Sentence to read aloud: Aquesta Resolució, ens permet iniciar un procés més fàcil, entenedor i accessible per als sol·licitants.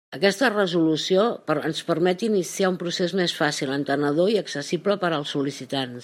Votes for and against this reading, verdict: 1, 2, rejected